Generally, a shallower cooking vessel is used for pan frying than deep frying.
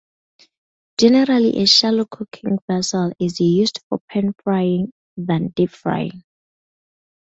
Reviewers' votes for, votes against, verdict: 2, 2, rejected